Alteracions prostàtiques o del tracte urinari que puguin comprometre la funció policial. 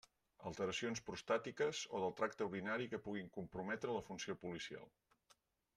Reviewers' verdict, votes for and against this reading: accepted, 2, 0